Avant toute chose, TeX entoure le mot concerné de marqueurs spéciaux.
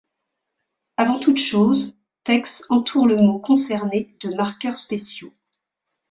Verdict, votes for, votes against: accepted, 2, 1